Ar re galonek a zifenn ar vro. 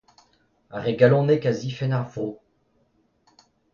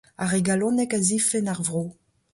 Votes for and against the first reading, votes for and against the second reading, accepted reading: 1, 2, 2, 0, second